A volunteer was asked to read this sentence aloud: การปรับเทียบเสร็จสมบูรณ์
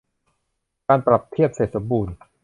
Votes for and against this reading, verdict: 2, 0, accepted